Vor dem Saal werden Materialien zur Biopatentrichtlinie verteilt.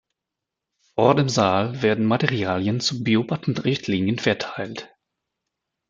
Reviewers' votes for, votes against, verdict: 1, 2, rejected